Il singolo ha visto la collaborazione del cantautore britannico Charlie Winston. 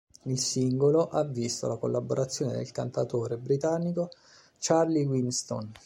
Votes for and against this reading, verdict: 2, 0, accepted